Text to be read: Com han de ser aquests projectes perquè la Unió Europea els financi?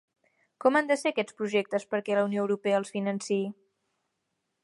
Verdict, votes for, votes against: accepted, 2, 0